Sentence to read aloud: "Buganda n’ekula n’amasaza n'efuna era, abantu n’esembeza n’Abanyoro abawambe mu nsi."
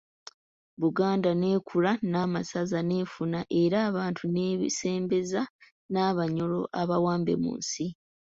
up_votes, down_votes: 2, 3